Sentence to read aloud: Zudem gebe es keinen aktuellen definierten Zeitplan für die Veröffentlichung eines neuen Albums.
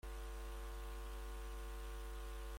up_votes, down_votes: 0, 2